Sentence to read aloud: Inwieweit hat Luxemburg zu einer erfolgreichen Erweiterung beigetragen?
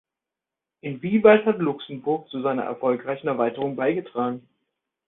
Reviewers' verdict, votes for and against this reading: rejected, 1, 2